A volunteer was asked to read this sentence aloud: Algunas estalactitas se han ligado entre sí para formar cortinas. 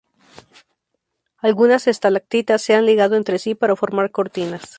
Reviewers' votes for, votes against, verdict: 4, 0, accepted